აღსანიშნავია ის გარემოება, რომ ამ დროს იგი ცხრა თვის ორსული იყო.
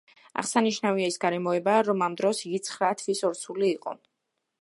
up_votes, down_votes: 2, 0